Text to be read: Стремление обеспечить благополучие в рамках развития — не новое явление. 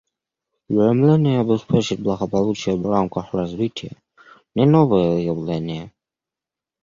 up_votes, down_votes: 0, 2